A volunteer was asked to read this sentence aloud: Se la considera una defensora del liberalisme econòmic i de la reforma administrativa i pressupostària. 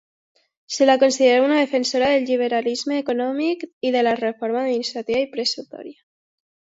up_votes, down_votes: 0, 2